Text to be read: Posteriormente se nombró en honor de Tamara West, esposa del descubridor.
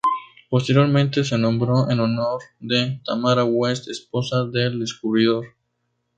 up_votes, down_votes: 2, 2